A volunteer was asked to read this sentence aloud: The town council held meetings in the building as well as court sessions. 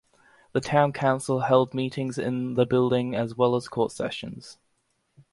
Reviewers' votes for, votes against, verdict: 2, 0, accepted